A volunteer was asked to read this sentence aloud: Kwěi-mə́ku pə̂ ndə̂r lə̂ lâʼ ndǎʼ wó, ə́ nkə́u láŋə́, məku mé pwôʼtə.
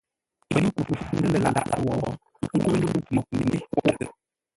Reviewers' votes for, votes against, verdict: 0, 2, rejected